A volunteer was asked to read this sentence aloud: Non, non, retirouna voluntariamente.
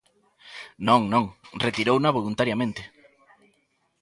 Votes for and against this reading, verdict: 1, 2, rejected